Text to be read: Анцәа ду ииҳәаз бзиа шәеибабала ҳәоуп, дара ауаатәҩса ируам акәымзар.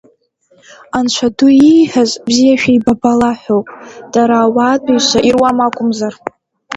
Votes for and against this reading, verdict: 2, 0, accepted